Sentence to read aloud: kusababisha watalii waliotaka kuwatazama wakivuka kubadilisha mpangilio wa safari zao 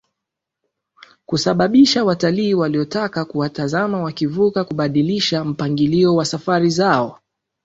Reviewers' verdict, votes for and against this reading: accepted, 3, 0